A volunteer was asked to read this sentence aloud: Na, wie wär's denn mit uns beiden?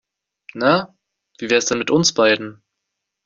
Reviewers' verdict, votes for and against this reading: accepted, 2, 0